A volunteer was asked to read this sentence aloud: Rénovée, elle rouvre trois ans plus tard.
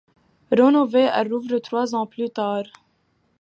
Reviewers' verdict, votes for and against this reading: rejected, 0, 2